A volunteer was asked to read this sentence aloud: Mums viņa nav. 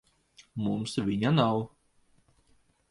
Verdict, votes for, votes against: accepted, 2, 0